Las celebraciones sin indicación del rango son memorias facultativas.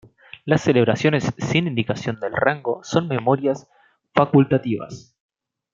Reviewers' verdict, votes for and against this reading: accepted, 2, 0